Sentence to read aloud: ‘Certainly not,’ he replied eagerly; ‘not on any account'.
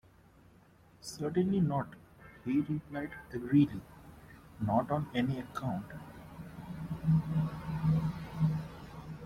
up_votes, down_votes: 0, 2